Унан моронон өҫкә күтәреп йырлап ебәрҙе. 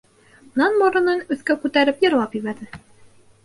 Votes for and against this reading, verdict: 2, 0, accepted